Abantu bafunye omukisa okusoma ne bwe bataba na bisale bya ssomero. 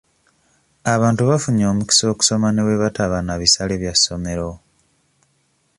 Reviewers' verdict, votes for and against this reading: accepted, 2, 0